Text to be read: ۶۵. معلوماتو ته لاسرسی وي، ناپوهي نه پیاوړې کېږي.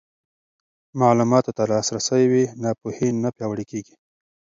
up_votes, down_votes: 0, 2